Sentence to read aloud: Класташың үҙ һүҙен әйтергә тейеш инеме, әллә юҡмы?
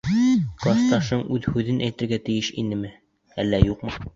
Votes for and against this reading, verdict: 1, 2, rejected